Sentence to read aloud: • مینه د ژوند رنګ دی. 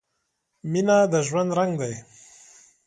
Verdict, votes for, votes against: accepted, 2, 0